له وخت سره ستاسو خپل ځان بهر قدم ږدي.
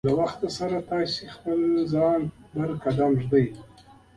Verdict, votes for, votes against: accepted, 2, 1